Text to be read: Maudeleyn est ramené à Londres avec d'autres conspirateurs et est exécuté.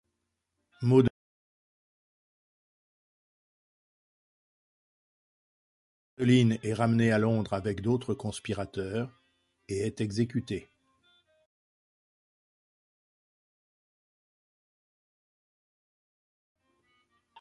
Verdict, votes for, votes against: rejected, 0, 2